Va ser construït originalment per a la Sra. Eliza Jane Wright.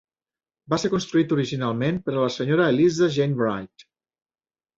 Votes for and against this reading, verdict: 2, 0, accepted